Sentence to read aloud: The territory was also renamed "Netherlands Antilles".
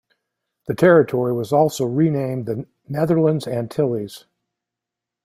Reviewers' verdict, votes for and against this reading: accepted, 2, 0